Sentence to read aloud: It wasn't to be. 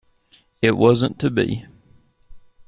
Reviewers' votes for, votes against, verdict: 2, 0, accepted